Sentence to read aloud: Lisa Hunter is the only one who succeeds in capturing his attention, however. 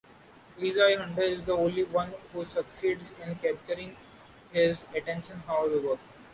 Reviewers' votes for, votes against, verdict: 0, 2, rejected